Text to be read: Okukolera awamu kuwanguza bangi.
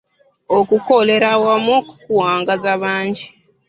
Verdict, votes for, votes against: rejected, 0, 2